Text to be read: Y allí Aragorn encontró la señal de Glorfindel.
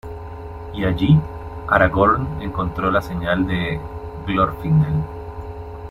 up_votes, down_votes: 0, 2